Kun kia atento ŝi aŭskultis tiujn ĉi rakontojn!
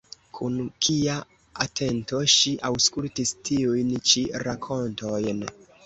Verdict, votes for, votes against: rejected, 1, 2